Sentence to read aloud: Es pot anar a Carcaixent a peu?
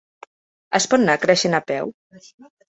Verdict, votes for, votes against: rejected, 1, 2